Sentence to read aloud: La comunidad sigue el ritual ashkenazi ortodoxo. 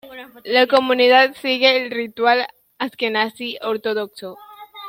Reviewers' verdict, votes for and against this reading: accepted, 2, 0